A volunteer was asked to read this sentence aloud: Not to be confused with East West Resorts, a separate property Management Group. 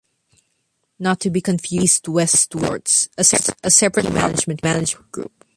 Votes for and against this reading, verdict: 0, 2, rejected